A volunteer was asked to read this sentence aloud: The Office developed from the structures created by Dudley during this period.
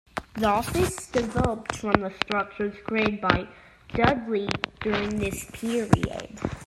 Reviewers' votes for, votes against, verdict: 2, 1, accepted